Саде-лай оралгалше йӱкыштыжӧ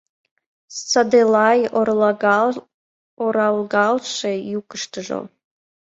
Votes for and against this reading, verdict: 1, 2, rejected